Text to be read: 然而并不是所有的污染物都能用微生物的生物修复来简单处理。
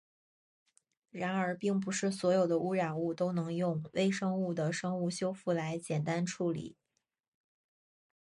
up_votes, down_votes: 2, 0